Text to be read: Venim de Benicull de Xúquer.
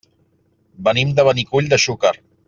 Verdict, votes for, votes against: accepted, 3, 0